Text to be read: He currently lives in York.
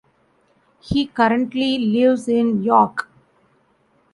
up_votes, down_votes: 1, 2